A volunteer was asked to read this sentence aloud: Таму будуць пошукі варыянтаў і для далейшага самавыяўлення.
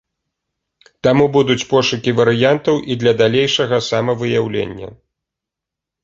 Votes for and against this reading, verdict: 2, 0, accepted